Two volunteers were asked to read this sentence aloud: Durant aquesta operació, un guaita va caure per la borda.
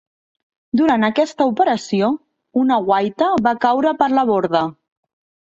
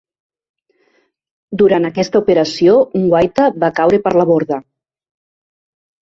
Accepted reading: second